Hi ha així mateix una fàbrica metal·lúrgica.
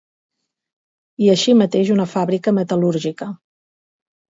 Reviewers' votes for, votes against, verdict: 2, 4, rejected